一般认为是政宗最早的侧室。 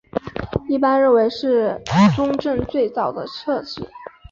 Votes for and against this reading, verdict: 3, 0, accepted